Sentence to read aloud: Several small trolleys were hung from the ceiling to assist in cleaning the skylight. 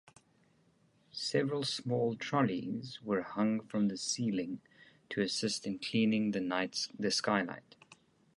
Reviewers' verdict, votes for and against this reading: rejected, 0, 2